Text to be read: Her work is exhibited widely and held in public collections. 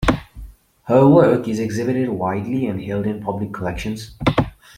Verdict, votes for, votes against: accepted, 2, 0